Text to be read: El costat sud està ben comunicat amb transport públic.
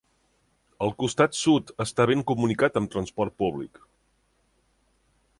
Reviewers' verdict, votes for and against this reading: accepted, 3, 0